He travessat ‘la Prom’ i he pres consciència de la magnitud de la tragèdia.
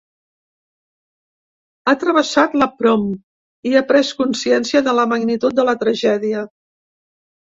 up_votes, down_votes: 1, 2